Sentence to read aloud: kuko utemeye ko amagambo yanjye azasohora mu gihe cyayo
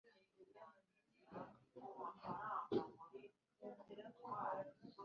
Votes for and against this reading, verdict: 1, 2, rejected